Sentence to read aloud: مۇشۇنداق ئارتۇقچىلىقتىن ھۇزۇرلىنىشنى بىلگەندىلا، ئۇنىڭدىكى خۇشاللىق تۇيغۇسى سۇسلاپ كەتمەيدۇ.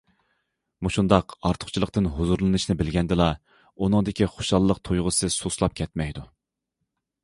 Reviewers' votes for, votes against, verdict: 2, 0, accepted